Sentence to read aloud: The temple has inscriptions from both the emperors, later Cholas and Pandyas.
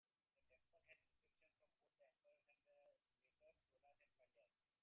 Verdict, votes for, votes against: rejected, 0, 2